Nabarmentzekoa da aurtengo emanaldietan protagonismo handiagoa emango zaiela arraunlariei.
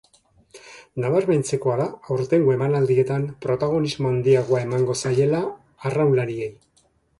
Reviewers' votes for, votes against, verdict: 2, 0, accepted